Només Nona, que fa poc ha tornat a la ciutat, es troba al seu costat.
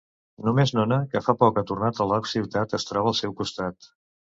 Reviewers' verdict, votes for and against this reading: rejected, 2, 2